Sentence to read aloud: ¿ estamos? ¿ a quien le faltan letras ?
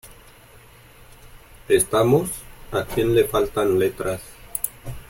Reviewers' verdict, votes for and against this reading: accepted, 2, 0